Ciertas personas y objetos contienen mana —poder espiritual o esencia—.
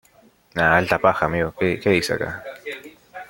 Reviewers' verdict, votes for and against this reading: rejected, 0, 2